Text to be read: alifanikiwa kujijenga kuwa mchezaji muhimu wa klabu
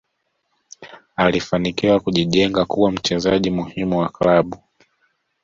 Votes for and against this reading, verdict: 2, 1, accepted